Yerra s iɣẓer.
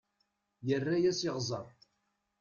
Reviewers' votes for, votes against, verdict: 1, 2, rejected